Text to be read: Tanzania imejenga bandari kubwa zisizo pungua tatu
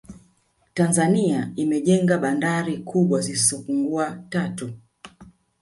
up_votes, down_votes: 1, 2